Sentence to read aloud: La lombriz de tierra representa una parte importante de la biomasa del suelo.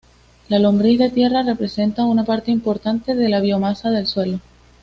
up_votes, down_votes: 2, 0